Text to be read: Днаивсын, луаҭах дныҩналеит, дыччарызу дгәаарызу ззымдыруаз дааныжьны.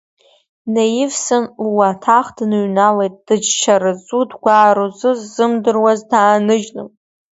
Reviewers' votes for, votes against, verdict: 1, 2, rejected